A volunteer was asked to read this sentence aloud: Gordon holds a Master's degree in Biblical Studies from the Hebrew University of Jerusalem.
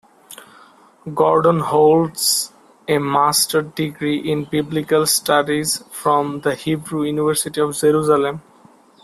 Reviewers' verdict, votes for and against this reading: rejected, 0, 2